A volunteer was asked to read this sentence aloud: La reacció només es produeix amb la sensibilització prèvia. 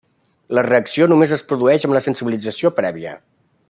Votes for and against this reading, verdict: 3, 0, accepted